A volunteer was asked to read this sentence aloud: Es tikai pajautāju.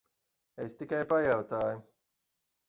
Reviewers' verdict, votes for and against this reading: accepted, 2, 0